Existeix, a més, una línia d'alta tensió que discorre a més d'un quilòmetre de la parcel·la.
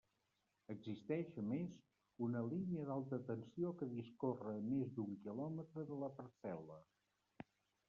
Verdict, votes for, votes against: rejected, 1, 2